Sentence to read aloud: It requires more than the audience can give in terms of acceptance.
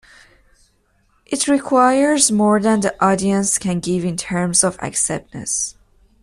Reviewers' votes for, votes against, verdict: 1, 2, rejected